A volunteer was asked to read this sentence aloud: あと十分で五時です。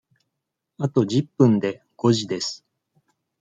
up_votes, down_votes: 2, 0